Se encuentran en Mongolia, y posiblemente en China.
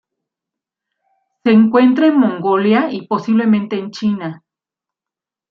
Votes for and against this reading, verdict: 2, 1, accepted